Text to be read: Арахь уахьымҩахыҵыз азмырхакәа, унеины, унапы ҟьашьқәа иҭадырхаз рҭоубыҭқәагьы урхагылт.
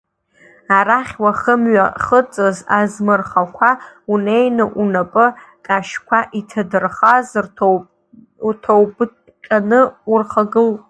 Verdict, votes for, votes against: rejected, 0, 2